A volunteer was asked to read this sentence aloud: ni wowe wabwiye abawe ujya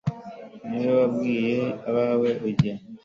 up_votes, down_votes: 2, 0